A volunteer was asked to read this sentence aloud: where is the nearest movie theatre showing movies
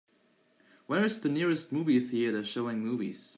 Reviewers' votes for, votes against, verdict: 2, 0, accepted